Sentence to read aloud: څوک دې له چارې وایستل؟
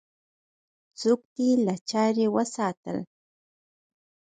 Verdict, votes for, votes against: rejected, 0, 4